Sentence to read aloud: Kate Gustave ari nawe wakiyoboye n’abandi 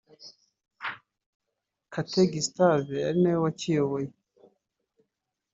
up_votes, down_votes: 1, 2